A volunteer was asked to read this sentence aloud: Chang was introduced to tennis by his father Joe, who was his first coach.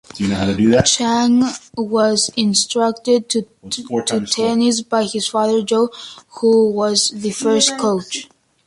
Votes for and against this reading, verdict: 0, 2, rejected